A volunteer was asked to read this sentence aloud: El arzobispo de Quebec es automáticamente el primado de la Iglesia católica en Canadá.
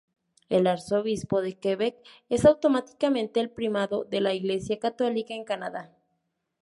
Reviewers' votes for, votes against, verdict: 4, 0, accepted